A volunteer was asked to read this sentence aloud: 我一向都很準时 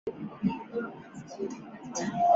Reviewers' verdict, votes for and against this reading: rejected, 0, 3